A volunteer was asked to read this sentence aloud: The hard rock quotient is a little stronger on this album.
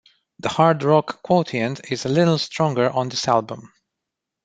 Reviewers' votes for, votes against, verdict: 1, 2, rejected